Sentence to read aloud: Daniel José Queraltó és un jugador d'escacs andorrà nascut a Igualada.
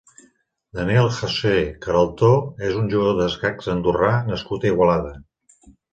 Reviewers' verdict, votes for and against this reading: accepted, 2, 0